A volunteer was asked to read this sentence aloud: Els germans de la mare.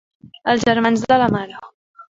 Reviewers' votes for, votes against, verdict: 3, 0, accepted